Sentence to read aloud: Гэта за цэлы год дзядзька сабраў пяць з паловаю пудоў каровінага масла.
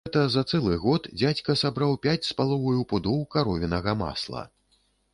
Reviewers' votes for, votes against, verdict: 1, 2, rejected